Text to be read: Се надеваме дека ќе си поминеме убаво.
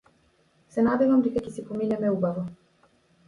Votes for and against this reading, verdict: 0, 2, rejected